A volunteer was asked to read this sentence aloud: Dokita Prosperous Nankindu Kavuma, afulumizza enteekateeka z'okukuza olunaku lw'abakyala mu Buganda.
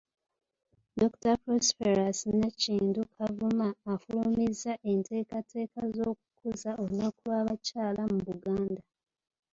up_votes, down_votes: 1, 2